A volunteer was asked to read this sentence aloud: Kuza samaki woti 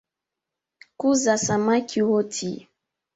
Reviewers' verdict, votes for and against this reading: accepted, 3, 1